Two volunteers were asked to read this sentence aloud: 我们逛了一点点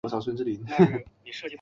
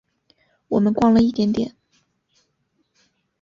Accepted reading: second